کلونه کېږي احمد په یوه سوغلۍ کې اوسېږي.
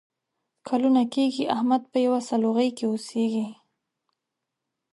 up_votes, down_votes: 0, 2